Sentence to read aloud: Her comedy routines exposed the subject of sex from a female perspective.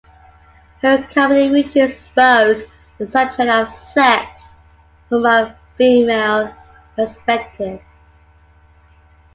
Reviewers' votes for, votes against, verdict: 2, 0, accepted